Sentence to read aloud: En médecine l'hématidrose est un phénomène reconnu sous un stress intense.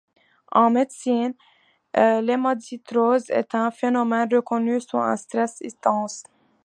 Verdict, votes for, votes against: rejected, 0, 3